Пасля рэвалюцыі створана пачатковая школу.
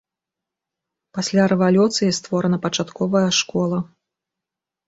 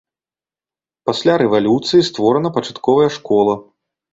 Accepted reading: second